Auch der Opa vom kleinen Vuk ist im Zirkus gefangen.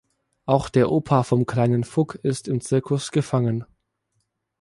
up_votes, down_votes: 2, 0